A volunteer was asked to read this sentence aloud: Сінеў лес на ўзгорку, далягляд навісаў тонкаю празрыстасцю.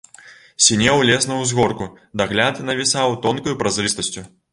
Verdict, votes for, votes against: rejected, 1, 2